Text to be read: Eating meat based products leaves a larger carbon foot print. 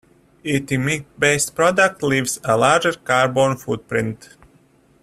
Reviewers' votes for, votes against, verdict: 0, 2, rejected